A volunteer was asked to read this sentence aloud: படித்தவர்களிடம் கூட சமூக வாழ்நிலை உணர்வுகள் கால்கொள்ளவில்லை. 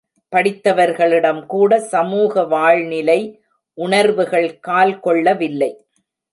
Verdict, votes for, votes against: accepted, 2, 0